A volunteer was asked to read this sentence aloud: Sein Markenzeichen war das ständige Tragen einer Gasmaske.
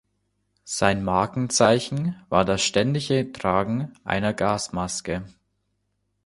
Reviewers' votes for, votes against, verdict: 2, 0, accepted